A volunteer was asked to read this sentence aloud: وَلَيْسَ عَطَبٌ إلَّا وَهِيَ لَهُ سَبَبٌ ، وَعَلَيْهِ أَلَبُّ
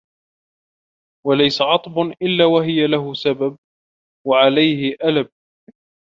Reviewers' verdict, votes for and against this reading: rejected, 0, 2